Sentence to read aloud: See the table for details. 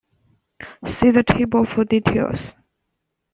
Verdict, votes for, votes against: accepted, 2, 0